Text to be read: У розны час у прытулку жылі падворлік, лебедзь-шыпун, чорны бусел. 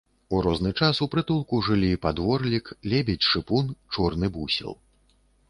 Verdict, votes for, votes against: accepted, 3, 0